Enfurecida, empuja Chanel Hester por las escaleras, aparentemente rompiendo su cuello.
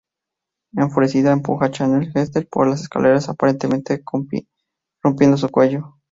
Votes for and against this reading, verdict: 0, 2, rejected